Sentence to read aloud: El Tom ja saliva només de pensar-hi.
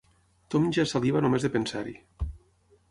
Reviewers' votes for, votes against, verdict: 3, 6, rejected